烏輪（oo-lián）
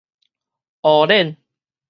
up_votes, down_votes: 2, 2